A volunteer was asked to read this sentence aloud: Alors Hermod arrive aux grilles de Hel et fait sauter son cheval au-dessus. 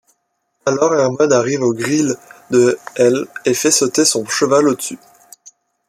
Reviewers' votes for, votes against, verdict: 0, 2, rejected